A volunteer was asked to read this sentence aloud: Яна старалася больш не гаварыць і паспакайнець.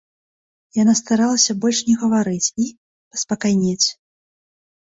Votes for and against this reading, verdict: 0, 2, rejected